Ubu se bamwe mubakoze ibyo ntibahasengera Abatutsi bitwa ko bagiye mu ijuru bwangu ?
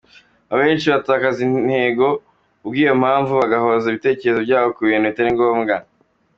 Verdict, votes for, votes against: rejected, 0, 2